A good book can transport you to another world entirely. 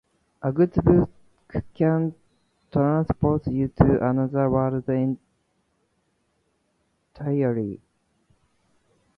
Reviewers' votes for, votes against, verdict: 0, 2, rejected